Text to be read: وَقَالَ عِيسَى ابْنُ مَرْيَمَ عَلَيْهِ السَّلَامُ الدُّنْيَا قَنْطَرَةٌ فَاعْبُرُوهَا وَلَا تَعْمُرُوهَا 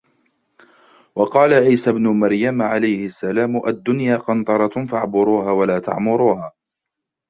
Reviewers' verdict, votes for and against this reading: rejected, 0, 2